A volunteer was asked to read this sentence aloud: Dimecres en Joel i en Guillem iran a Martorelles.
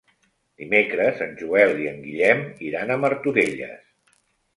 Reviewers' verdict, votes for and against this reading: accepted, 3, 0